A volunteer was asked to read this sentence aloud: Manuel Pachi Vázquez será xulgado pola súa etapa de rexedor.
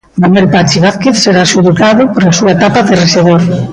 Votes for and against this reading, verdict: 2, 1, accepted